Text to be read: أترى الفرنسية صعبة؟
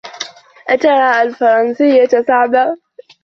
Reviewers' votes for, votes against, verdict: 2, 0, accepted